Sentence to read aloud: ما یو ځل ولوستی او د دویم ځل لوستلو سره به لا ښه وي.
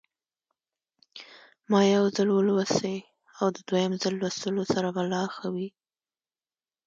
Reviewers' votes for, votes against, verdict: 2, 0, accepted